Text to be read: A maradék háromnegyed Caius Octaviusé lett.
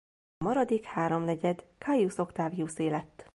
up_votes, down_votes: 1, 2